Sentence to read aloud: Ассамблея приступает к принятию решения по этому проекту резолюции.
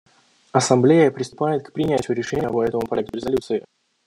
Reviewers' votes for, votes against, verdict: 0, 2, rejected